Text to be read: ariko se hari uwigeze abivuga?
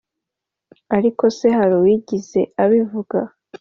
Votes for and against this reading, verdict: 2, 0, accepted